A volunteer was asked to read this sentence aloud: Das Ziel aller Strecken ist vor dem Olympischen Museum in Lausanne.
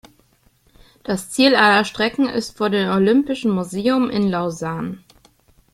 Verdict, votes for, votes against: rejected, 0, 2